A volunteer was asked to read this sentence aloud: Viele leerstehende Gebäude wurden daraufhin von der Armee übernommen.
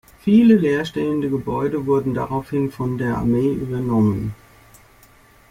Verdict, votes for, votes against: accepted, 2, 0